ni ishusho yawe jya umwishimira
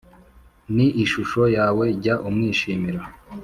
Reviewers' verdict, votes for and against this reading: accepted, 3, 0